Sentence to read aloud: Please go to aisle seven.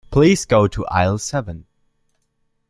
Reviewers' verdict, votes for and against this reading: accepted, 2, 0